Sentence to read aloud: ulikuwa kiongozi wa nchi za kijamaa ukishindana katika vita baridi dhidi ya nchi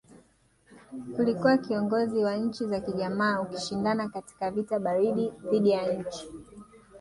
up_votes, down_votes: 1, 2